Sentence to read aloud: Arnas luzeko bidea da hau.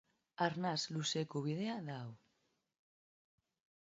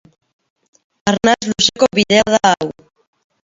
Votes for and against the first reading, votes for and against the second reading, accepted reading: 2, 1, 0, 2, first